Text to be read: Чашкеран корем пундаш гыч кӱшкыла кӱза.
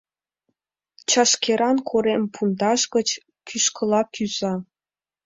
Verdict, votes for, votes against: accepted, 2, 0